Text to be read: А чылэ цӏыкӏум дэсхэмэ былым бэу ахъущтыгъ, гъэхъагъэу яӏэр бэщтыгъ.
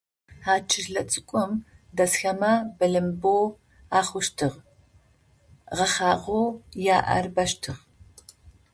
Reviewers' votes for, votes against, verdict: 2, 0, accepted